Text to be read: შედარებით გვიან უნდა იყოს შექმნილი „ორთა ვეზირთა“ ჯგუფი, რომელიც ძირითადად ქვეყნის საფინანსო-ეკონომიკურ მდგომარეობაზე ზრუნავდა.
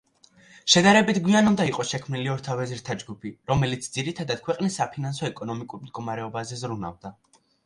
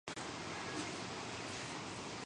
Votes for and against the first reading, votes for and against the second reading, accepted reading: 2, 0, 0, 3, first